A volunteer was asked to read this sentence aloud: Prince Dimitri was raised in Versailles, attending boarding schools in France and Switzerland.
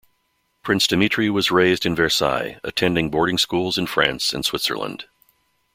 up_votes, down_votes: 2, 0